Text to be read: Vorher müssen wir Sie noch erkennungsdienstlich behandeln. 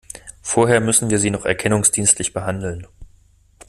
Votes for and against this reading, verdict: 2, 0, accepted